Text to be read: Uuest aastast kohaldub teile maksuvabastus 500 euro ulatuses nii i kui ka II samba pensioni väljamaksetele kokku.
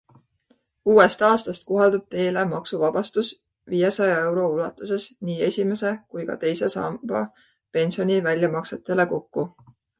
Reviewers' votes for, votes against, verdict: 0, 2, rejected